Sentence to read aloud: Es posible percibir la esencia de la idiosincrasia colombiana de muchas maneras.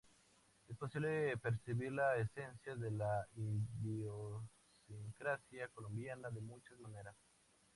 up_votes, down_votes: 0, 2